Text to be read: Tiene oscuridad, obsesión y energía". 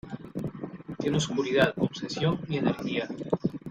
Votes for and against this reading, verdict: 1, 2, rejected